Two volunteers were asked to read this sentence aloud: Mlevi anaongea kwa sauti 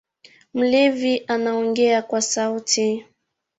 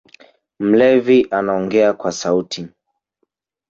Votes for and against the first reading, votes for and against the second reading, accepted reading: 1, 2, 3, 2, second